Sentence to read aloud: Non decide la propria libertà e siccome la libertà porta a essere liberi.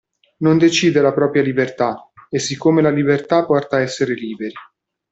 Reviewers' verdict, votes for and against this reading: rejected, 1, 2